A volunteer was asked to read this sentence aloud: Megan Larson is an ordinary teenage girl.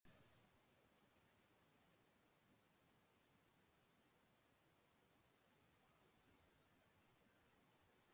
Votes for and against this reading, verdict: 0, 2, rejected